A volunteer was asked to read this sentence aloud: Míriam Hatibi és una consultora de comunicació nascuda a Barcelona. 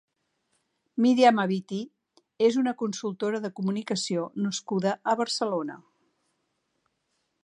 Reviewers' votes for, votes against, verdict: 1, 2, rejected